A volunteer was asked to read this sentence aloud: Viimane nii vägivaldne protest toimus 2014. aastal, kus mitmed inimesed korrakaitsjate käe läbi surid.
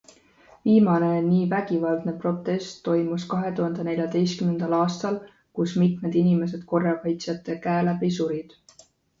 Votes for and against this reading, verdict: 0, 2, rejected